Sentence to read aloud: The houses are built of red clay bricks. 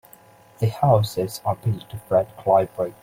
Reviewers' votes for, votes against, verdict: 2, 3, rejected